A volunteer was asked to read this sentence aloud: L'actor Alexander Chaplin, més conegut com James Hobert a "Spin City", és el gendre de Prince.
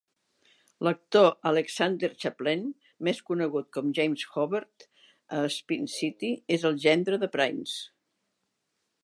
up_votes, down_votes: 2, 0